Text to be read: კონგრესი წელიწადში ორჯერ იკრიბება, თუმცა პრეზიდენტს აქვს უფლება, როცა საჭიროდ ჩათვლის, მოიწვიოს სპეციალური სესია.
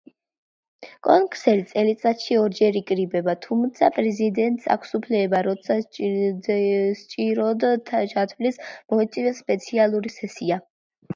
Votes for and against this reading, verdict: 1, 2, rejected